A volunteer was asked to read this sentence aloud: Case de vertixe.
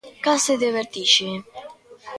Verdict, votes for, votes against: accepted, 2, 0